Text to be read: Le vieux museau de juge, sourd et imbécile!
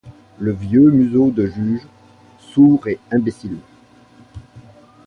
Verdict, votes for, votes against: rejected, 1, 2